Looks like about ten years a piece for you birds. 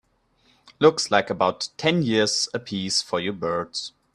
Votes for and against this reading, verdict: 3, 0, accepted